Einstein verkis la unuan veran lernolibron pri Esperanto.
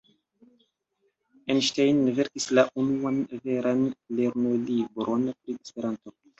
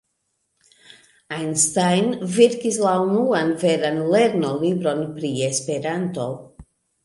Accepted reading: second